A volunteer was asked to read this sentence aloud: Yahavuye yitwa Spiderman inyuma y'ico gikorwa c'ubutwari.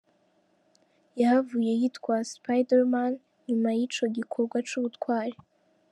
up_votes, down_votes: 2, 0